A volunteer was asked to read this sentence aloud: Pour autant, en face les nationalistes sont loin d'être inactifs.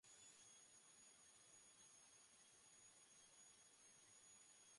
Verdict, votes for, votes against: rejected, 0, 2